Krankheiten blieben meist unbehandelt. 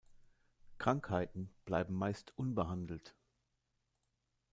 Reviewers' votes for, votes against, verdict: 0, 2, rejected